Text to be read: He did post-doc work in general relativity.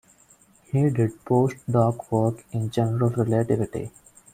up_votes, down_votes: 2, 0